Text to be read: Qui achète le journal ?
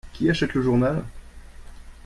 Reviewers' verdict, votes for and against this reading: accepted, 2, 0